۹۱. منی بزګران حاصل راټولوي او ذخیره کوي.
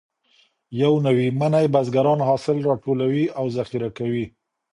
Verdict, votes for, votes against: rejected, 0, 2